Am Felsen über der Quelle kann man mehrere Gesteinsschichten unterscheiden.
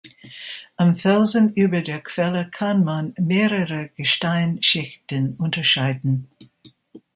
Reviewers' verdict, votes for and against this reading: accepted, 2, 1